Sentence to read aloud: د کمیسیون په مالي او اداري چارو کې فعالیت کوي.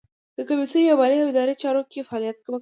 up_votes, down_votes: 2, 1